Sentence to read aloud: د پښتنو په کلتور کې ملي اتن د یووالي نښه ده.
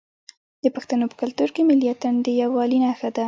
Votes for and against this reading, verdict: 2, 1, accepted